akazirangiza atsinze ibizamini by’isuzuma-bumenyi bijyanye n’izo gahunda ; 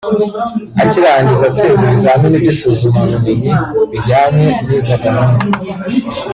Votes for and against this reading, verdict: 1, 2, rejected